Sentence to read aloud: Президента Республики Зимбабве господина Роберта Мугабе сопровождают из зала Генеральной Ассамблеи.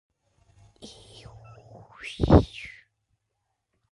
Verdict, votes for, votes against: rejected, 0, 2